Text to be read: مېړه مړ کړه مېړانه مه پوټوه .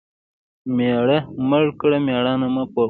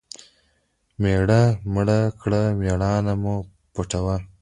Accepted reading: second